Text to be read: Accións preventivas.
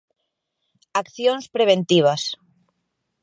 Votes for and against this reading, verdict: 2, 0, accepted